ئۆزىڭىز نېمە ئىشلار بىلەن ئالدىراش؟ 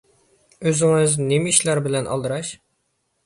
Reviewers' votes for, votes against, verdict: 2, 0, accepted